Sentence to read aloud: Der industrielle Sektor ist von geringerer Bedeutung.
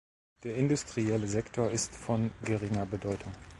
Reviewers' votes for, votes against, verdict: 0, 2, rejected